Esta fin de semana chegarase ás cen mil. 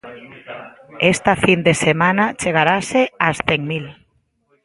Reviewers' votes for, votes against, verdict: 2, 0, accepted